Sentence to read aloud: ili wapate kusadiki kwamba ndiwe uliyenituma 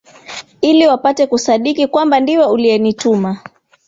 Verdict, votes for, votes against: accepted, 3, 0